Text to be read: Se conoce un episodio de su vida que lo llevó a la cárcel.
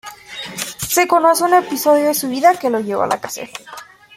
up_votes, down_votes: 1, 2